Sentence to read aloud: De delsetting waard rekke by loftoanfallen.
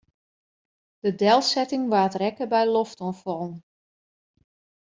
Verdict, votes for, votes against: accepted, 2, 0